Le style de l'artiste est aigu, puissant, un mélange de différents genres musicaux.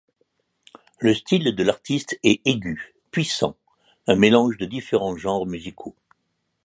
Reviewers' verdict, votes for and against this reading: accepted, 2, 0